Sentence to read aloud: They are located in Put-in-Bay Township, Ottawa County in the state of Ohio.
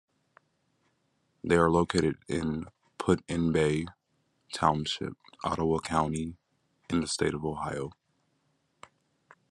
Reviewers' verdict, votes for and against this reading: accepted, 2, 0